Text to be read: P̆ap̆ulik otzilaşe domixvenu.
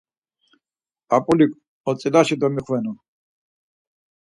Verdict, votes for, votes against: accepted, 4, 0